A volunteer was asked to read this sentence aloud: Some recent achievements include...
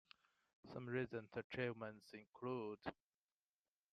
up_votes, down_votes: 0, 2